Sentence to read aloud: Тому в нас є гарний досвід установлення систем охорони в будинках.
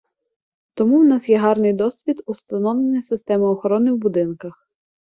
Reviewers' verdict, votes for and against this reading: rejected, 1, 2